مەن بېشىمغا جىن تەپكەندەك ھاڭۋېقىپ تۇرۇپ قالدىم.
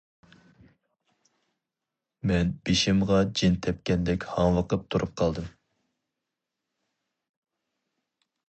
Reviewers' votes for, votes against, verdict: 2, 0, accepted